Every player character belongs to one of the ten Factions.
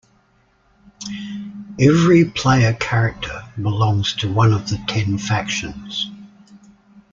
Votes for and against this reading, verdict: 2, 0, accepted